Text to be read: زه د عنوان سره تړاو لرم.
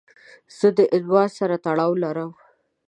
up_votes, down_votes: 2, 0